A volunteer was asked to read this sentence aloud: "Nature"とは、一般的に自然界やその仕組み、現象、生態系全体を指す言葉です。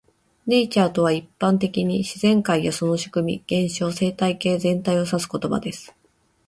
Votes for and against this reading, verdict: 2, 0, accepted